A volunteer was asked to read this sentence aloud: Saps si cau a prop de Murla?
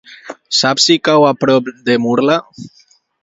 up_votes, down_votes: 2, 0